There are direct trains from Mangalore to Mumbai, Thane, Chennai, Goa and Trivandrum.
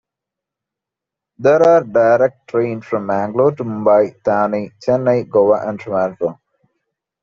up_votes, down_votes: 2, 0